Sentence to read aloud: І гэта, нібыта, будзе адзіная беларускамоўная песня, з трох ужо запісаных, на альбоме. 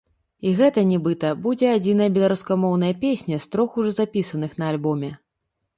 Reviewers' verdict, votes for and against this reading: rejected, 0, 2